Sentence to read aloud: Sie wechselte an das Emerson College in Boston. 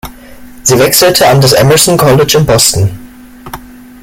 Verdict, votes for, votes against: accepted, 2, 0